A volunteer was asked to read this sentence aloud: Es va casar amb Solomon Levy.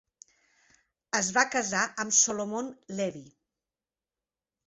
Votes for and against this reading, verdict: 3, 0, accepted